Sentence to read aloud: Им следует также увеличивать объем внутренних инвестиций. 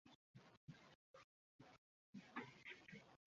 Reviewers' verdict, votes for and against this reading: rejected, 0, 2